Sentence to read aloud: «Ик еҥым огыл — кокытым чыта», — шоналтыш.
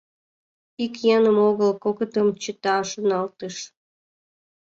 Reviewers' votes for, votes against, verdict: 3, 2, accepted